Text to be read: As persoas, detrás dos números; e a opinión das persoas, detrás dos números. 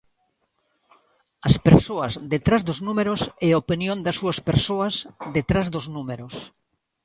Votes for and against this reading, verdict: 0, 2, rejected